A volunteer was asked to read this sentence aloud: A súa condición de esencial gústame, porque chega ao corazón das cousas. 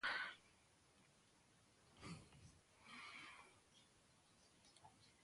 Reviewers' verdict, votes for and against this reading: rejected, 0, 2